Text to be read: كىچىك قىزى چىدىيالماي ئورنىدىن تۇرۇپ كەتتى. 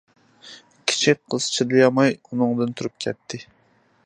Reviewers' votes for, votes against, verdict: 0, 2, rejected